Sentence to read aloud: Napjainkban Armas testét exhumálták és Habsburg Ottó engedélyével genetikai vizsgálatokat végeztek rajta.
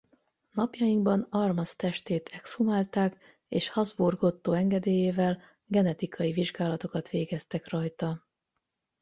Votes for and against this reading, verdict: 4, 4, rejected